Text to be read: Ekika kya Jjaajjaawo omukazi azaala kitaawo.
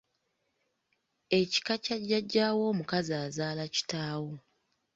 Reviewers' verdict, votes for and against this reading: accepted, 2, 0